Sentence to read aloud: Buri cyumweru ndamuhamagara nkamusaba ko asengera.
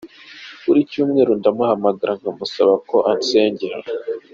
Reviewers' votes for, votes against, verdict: 2, 0, accepted